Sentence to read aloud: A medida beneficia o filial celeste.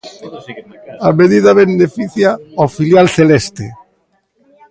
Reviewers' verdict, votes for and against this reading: rejected, 0, 2